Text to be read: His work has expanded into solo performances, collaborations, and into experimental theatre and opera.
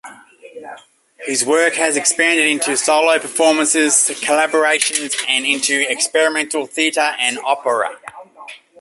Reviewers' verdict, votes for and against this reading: accepted, 2, 0